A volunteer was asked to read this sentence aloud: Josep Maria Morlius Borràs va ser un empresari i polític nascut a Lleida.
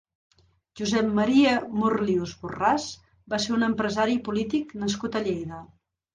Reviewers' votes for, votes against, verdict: 2, 0, accepted